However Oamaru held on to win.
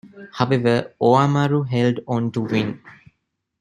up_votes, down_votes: 1, 2